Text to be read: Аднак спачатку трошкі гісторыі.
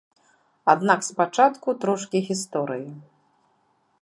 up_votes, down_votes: 2, 0